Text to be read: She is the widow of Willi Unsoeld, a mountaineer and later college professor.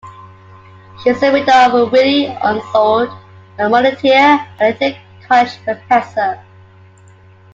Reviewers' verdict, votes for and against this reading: accepted, 2, 1